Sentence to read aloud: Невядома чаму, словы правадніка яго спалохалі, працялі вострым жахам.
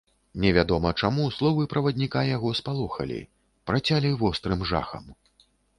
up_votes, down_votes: 2, 0